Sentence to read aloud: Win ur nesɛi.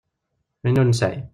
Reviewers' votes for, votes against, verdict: 0, 2, rejected